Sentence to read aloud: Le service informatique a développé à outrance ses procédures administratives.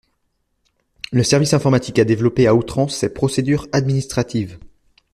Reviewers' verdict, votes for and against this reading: accepted, 2, 1